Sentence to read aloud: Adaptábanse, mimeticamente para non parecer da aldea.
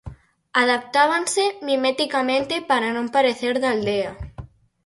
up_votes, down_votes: 4, 2